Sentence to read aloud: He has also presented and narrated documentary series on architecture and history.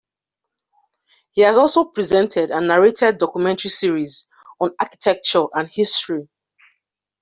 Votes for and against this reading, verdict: 2, 0, accepted